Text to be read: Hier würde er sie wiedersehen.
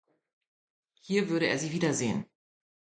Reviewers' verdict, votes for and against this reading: accepted, 2, 0